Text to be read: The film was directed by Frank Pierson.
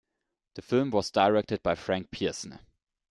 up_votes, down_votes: 2, 0